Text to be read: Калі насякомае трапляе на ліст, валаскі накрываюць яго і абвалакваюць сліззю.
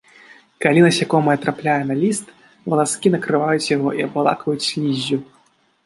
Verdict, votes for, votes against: accepted, 2, 0